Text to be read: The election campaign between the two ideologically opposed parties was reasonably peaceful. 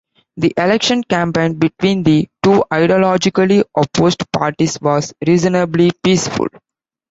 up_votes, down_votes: 2, 0